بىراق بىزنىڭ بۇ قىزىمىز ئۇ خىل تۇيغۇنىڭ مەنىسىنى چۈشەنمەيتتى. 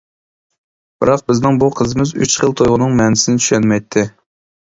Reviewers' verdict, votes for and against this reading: rejected, 0, 2